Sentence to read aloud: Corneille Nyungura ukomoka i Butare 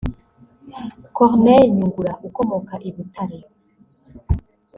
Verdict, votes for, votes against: rejected, 0, 2